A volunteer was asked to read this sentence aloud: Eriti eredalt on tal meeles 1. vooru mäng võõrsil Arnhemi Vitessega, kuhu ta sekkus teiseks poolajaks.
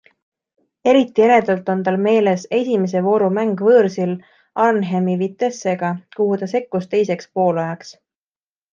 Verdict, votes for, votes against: rejected, 0, 2